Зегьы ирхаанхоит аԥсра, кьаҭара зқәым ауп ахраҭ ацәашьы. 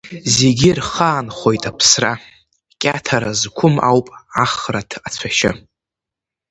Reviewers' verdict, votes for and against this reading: rejected, 1, 2